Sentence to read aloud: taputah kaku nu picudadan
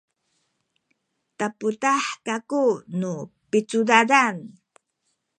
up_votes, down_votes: 2, 0